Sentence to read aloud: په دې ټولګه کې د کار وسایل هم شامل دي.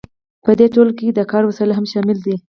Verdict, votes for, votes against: rejected, 2, 2